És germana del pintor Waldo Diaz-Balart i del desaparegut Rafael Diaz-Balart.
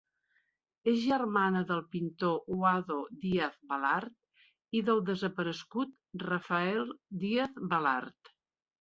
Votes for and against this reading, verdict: 1, 2, rejected